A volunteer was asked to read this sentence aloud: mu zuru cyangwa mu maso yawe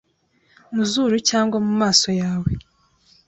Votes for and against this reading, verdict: 2, 0, accepted